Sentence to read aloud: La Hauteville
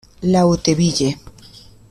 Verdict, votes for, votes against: rejected, 1, 2